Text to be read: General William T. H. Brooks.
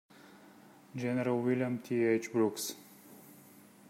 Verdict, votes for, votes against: accepted, 2, 0